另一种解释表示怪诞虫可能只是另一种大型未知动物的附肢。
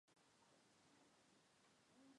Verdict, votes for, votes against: rejected, 0, 5